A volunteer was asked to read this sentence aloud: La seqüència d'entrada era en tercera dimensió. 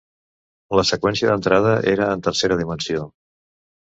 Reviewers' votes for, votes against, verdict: 2, 0, accepted